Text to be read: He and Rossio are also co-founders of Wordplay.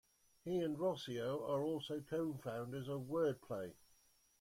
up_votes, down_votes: 2, 0